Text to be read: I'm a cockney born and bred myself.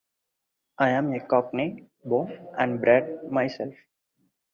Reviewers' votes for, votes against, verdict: 4, 0, accepted